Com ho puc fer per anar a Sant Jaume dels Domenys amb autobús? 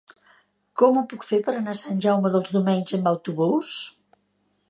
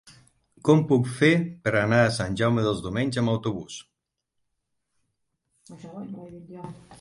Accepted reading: first